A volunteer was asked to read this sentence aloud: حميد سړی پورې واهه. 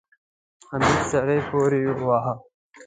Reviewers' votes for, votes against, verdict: 0, 2, rejected